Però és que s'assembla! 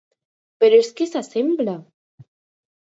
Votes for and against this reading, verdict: 2, 0, accepted